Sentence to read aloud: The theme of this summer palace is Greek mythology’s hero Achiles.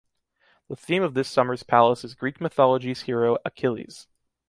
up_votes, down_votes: 2, 0